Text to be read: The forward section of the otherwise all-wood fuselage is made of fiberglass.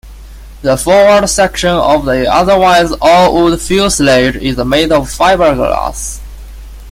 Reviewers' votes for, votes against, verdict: 1, 2, rejected